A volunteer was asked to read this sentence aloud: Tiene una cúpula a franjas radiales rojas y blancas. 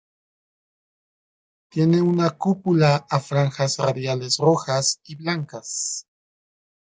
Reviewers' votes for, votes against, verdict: 1, 2, rejected